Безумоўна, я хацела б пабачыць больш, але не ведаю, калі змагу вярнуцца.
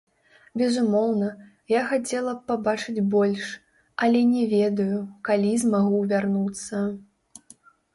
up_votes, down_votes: 2, 3